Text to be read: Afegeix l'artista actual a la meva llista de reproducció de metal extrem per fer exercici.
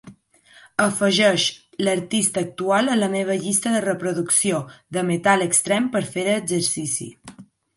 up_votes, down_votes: 2, 0